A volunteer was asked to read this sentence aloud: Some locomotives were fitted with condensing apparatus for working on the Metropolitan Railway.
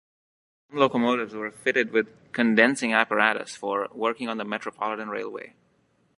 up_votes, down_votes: 0, 2